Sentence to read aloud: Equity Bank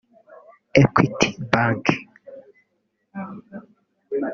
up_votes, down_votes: 2, 0